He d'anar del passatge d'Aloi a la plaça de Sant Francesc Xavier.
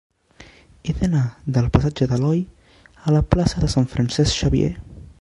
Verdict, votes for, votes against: accepted, 2, 1